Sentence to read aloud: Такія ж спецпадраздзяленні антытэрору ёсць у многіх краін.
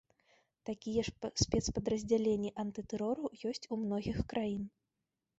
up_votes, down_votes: 1, 2